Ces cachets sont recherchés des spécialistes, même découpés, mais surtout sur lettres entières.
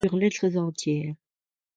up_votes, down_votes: 0, 2